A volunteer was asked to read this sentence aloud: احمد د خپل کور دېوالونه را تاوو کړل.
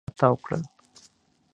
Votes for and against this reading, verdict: 0, 2, rejected